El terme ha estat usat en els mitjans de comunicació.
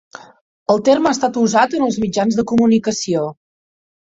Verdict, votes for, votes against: accepted, 3, 0